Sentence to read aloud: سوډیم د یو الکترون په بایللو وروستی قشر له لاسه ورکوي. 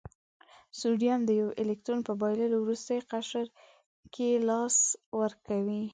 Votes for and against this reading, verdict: 1, 2, rejected